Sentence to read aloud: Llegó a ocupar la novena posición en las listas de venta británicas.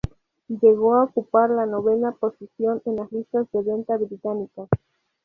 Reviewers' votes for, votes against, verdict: 2, 2, rejected